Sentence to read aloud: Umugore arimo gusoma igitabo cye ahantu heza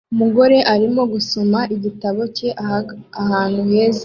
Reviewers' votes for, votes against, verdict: 2, 0, accepted